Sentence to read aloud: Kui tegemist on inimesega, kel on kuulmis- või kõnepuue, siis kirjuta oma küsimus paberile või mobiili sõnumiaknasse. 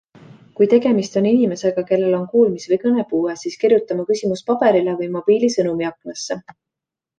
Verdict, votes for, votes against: accepted, 2, 0